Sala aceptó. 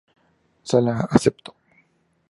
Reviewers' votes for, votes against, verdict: 2, 0, accepted